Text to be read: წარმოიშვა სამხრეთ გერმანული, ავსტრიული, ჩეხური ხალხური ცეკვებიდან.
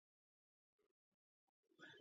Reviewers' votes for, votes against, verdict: 2, 0, accepted